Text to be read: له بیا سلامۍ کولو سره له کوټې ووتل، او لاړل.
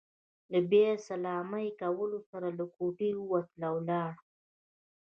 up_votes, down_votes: 1, 2